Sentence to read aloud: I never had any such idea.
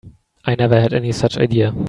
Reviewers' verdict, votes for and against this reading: accepted, 3, 0